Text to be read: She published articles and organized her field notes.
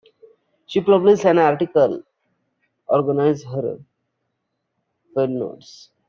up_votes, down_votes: 0, 2